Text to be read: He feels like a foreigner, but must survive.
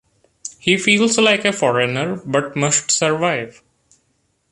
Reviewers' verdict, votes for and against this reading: accepted, 2, 0